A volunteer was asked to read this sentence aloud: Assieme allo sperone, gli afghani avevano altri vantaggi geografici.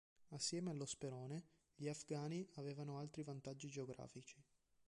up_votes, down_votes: 2, 1